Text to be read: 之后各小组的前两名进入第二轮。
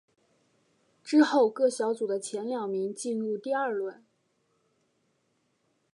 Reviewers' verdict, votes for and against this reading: accepted, 2, 0